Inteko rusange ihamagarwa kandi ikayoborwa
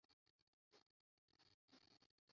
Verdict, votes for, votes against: rejected, 0, 2